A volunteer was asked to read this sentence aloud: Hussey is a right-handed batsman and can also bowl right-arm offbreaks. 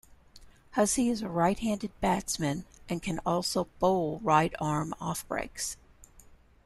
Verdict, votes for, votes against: accepted, 2, 0